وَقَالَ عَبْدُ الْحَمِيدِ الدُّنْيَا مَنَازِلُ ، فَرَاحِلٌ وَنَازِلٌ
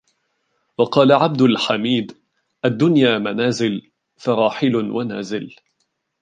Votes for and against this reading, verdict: 2, 1, accepted